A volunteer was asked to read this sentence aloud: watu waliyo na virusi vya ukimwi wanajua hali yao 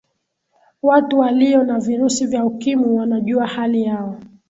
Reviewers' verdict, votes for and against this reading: accepted, 2, 0